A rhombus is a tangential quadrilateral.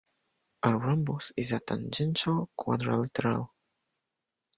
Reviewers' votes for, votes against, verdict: 1, 2, rejected